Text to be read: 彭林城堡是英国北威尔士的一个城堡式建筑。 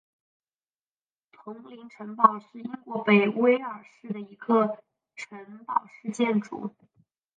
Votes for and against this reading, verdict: 2, 3, rejected